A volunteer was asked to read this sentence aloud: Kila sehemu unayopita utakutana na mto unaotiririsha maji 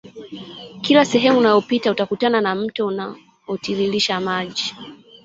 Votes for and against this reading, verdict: 0, 2, rejected